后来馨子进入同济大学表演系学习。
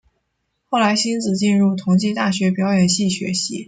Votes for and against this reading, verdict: 0, 2, rejected